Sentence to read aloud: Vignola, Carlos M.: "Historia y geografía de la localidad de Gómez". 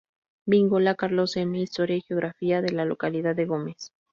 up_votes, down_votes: 0, 2